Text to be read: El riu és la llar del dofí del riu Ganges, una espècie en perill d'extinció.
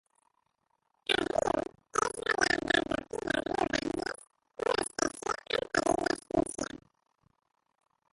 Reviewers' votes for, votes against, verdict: 0, 2, rejected